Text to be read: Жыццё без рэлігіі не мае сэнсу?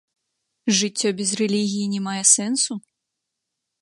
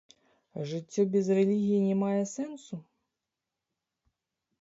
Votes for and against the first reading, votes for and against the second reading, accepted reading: 2, 0, 0, 2, first